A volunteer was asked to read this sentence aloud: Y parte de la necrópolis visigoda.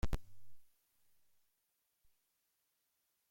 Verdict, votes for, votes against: rejected, 0, 2